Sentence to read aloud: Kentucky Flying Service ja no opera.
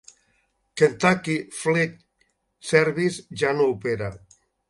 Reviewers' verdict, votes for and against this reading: rejected, 1, 2